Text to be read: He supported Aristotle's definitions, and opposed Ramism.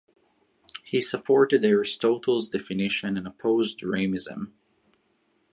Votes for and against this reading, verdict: 2, 0, accepted